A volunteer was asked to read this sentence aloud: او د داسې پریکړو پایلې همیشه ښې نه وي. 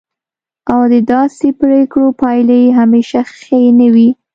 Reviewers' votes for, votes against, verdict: 2, 0, accepted